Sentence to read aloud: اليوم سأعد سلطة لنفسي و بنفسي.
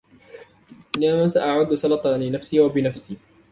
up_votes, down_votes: 3, 2